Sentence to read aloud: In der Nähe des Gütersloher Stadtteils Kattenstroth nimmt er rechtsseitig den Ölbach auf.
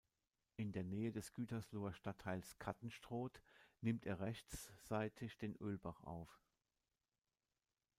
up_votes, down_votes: 0, 2